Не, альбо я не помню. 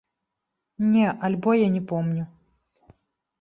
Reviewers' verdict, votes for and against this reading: accepted, 2, 0